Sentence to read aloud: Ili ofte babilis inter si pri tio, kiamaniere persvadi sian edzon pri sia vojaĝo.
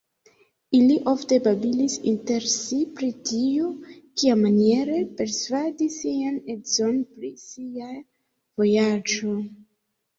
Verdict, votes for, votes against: accepted, 2, 1